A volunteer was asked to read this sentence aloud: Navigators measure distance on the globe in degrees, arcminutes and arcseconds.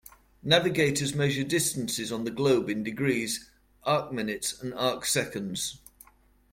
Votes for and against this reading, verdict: 2, 1, accepted